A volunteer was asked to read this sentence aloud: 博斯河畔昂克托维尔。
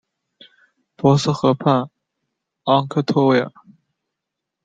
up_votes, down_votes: 2, 0